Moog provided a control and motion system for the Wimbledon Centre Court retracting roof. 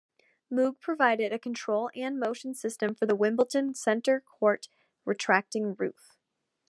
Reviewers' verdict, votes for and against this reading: accepted, 2, 0